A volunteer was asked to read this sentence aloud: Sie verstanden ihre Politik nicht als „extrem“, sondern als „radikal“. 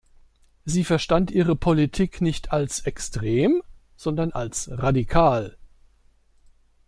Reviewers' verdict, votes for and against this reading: rejected, 1, 2